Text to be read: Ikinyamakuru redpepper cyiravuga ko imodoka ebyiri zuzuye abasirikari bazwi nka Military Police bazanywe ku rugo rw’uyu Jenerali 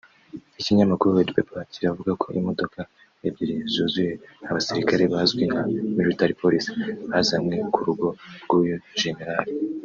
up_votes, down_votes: 1, 2